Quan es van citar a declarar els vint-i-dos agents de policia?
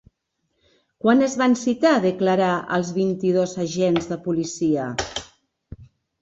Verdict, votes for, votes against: accepted, 2, 1